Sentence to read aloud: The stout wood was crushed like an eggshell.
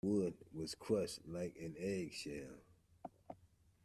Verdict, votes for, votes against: rejected, 1, 2